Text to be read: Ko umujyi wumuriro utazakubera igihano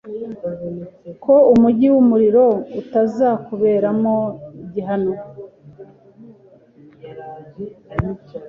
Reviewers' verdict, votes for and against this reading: rejected, 0, 2